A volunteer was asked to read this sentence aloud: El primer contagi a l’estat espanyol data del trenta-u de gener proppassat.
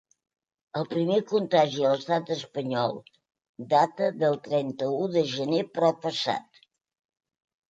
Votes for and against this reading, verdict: 2, 0, accepted